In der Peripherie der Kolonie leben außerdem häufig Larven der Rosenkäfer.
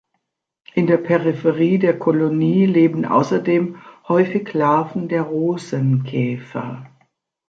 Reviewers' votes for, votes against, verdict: 2, 0, accepted